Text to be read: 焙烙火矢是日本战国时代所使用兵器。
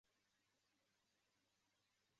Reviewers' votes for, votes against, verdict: 1, 4, rejected